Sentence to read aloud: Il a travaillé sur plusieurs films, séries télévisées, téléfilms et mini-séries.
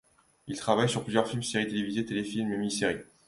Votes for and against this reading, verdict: 0, 2, rejected